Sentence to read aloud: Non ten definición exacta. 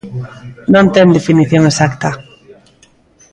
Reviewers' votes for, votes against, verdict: 1, 2, rejected